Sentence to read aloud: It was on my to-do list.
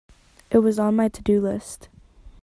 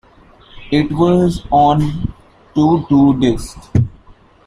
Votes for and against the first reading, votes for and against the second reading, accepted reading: 2, 0, 0, 2, first